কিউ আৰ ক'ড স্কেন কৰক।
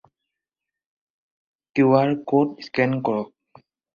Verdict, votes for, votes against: accepted, 4, 2